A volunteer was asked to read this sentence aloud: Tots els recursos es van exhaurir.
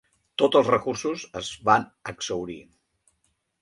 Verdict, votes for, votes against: rejected, 1, 2